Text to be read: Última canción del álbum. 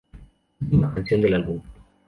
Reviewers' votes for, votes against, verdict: 0, 2, rejected